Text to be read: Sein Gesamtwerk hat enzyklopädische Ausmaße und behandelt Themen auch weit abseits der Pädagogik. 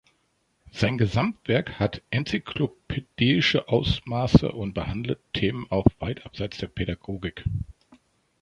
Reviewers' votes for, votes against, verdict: 0, 2, rejected